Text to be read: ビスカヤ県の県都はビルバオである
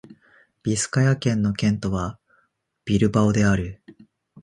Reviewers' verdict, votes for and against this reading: accepted, 4, 0